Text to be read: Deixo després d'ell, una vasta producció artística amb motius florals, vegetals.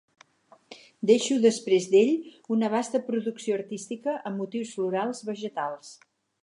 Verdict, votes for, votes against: accepted, 6, 0